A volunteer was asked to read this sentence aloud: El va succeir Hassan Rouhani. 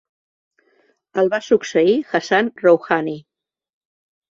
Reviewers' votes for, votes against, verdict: 2, 0, accepted